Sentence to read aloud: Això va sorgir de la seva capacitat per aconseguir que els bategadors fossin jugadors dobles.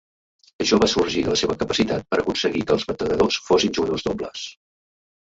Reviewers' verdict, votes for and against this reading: accepted, 2, 0